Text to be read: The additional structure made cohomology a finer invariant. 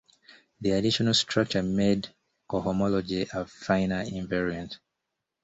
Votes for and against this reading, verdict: 2, 1, accepted